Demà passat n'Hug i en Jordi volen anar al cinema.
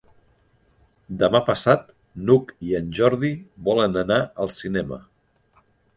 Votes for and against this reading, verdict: 4, 0, accepted